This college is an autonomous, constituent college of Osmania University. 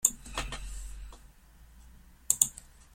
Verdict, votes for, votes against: rejected, 0, 3